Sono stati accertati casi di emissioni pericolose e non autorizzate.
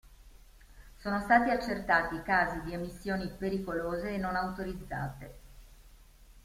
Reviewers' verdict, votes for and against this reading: rejected, 1, 2